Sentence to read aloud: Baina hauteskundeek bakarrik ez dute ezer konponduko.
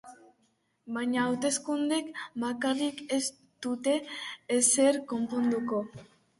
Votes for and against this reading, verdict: 3, 2, accepted